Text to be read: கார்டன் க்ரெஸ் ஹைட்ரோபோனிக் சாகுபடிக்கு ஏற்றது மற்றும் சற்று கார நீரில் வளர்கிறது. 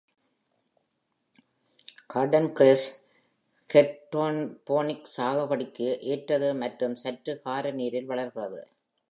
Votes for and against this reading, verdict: 1, 2, rejected